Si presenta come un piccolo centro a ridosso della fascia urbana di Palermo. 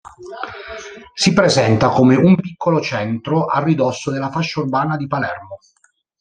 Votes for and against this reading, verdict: 1, 2, rejected